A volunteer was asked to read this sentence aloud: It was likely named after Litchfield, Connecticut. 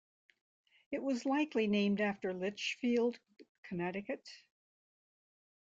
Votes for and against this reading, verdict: 2, 0, accepted